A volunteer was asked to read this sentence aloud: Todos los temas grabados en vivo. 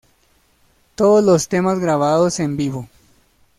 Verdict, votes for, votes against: accepted, 2, 0